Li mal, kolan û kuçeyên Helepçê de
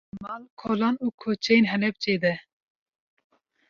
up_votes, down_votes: 2, 0